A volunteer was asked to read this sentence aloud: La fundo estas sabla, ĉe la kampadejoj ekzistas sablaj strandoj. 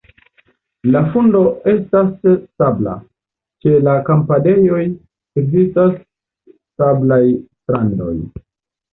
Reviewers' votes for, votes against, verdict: 0, 2, rejected